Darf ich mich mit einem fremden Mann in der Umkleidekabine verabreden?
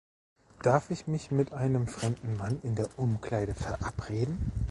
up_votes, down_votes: 0, 2